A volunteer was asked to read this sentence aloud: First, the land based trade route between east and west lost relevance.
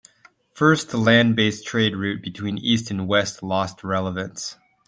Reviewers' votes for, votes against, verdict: 2, 0, accepted